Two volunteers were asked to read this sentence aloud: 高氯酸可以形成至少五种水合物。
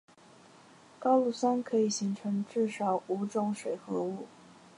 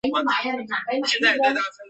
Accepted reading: first